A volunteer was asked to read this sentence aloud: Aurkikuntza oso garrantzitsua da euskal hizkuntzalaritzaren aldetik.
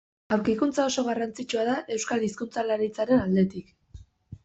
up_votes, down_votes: 2, 0